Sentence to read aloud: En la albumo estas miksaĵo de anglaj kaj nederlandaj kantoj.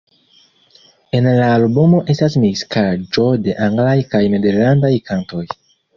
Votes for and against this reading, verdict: 0, 2, rejected